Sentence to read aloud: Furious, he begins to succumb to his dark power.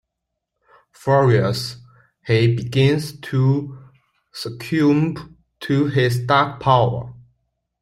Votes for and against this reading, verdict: 2, 1, accepted